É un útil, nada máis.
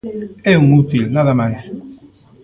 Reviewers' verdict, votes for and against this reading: accepted, 2, 1